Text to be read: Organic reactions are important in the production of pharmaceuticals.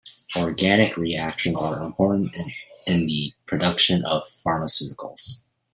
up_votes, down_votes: 0, 2